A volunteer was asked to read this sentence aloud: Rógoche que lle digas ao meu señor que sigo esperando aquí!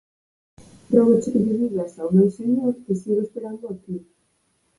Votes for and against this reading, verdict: 4, 2, accepted